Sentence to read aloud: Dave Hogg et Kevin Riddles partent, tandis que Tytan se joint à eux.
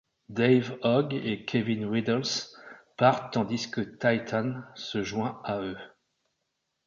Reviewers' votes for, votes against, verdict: 1, 2, rejected